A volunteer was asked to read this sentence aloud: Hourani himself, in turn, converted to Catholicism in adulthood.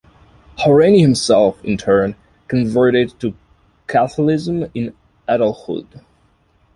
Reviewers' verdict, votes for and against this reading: rejected, 0, 2